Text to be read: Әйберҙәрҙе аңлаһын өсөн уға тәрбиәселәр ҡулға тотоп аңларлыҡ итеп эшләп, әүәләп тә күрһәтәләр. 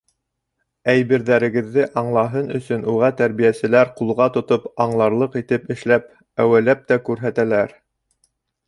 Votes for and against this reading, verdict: 1, 2, rejected